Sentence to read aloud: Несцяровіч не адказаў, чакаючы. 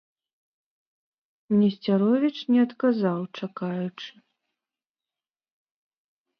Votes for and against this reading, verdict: 3, 0, accepted